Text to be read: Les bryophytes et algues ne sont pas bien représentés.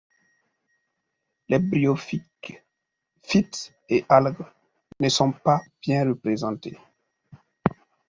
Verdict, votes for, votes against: rejected, 0, 2